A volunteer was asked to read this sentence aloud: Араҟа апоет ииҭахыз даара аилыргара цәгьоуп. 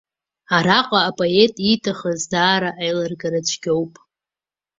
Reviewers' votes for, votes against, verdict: 2, 0, accepted